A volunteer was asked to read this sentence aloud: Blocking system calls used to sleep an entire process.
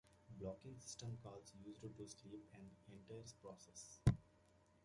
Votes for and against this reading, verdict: 0, 2, rejected